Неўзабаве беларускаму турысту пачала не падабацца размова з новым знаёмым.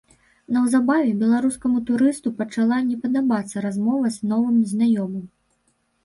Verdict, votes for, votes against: rejected, 1, 2